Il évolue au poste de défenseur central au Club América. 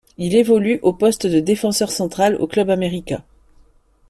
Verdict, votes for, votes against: accepted, 2, 0